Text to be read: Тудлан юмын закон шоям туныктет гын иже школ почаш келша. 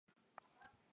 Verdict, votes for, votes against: rejected, 1, 2